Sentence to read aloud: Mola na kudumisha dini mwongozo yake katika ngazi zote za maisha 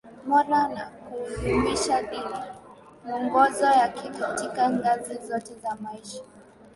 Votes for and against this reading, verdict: 2, 3, rejected